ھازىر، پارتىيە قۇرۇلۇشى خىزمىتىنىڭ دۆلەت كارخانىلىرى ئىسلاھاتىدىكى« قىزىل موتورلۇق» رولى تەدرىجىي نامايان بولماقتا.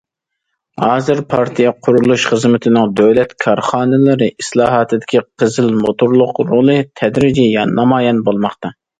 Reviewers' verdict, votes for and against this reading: accepted, 2, 0